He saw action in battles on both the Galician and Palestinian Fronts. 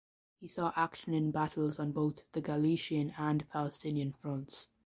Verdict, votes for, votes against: accepted, 2, 0